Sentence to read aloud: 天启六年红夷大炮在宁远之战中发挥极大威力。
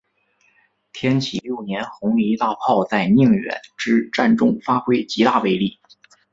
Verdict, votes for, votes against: accepted, 2, 1